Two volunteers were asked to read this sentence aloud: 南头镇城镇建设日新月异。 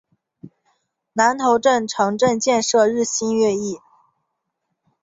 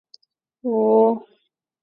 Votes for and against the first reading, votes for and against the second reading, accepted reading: 3, 0, 1, 2, first